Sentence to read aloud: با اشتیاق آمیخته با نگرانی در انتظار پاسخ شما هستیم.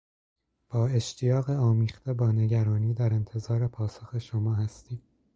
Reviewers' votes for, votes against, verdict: 2, 0, accepted